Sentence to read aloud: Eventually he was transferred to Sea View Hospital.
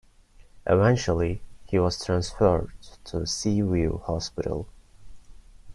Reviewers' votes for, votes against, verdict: 1, 2, rejected